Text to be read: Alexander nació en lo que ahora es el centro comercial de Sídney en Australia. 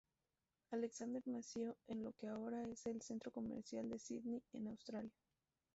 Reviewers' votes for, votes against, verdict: 2, 0, accepted